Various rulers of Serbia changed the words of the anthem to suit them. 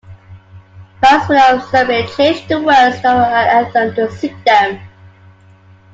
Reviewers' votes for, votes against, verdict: 0, 2, rejected